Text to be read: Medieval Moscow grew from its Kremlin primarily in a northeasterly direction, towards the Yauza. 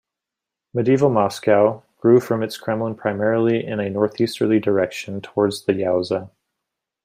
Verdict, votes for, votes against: accepted, 2, 0